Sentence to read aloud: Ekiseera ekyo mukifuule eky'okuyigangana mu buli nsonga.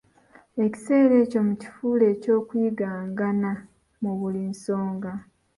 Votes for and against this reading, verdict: 2, 0, accepted